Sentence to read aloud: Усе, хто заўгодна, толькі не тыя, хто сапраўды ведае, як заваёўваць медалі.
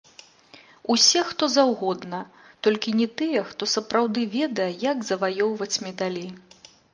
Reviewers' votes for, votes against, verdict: 1, 2, rejected